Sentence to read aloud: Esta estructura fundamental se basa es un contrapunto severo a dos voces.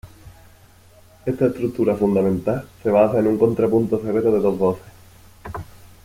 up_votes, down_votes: 0, 2